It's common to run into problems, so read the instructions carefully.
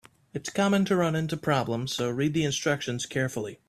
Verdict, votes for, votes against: accepted, 4, 0